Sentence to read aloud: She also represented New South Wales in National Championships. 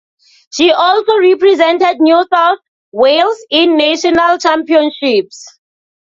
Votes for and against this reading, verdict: 2, 0, accepted